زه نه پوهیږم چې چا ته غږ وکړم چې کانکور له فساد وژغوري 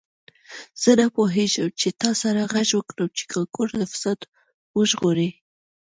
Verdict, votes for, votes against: rejected, 1, 2